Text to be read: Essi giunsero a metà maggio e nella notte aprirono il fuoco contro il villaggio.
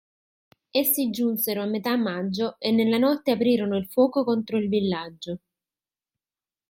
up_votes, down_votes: 0, 2